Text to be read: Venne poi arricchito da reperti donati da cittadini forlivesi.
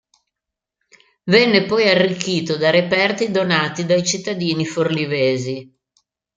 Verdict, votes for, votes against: rejected, 0, 2